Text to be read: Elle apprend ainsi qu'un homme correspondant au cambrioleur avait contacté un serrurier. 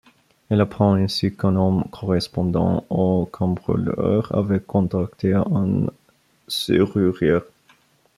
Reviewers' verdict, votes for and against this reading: rejected, 0, 2